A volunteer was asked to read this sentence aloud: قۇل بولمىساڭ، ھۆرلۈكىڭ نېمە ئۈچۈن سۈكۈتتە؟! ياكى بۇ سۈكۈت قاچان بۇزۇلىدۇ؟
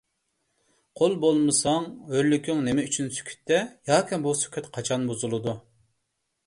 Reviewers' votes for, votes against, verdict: 2, 0, accepted